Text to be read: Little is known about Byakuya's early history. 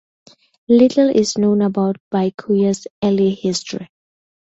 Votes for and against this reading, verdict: 2, 0, accepted